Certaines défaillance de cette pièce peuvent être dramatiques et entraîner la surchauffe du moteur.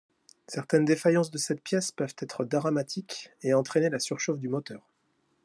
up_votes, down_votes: 2, 0